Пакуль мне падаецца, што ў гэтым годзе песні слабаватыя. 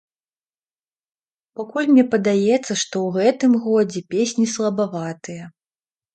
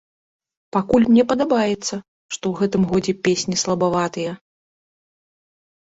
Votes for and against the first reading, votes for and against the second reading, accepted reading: 2, 0, 0, 2, first